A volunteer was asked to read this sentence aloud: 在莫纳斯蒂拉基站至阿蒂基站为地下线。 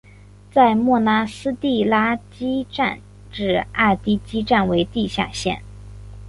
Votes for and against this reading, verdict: 3, 1, accepted